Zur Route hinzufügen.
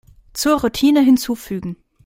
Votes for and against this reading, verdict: 1, 2, rejected